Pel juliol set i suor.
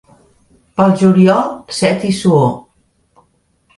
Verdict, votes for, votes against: accepted, 2, 0